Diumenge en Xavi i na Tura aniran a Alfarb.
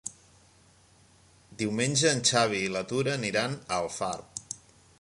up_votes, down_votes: 1, 2